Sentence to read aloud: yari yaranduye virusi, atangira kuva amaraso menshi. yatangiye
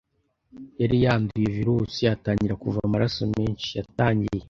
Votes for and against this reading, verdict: 1, 2, rejected